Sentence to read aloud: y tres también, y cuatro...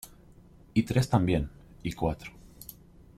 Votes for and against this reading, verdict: 2, 0, accepted